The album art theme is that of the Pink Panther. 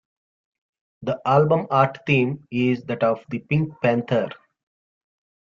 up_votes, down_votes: 2, 1